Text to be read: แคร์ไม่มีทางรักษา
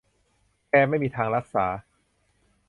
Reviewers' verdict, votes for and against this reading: rejected, 0, 2